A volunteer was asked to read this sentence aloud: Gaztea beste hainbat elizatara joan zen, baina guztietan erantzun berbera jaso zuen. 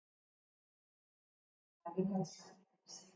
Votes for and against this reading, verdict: 1, 2, rejected